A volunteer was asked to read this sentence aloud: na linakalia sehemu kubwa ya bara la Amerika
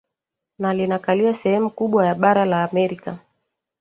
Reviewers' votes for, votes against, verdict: 1, 2, rejected